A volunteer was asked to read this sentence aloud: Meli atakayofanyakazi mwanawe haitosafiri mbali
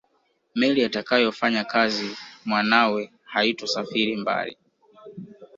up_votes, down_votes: 2, 0